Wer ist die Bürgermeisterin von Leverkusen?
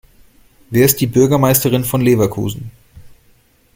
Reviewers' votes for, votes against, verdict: 2, 0, accepted